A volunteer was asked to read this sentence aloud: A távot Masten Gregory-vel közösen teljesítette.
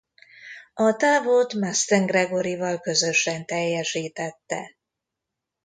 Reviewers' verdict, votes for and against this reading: rejected, 1, 2